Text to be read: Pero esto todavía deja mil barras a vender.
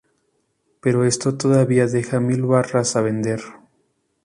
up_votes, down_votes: 0, 2